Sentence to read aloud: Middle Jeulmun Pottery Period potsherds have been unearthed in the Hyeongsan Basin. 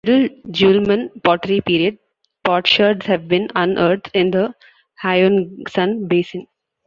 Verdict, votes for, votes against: rejected, 0, 2